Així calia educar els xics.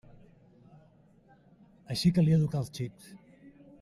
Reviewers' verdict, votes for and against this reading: accepted, 2, 0